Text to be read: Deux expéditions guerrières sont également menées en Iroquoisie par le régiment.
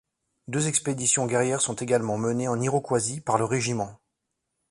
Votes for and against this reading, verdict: 2, 0, accepted